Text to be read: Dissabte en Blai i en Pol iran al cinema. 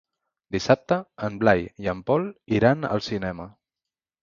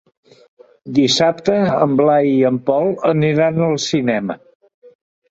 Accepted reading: first